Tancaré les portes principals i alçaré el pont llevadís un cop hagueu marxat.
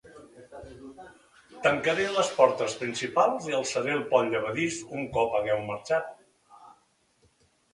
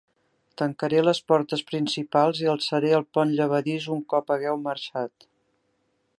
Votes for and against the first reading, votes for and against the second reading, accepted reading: 1, 2, 3, 0, second